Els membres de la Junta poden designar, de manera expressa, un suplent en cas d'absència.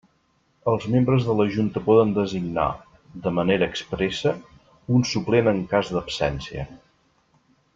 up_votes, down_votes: 3, 0